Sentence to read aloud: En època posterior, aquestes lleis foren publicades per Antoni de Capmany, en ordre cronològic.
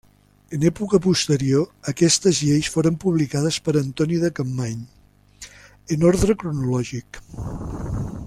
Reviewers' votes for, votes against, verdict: 3, 0, accepted